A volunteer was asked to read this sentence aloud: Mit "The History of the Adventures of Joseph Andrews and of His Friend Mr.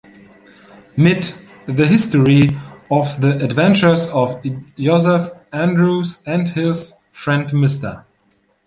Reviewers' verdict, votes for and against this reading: rejected, 1, 2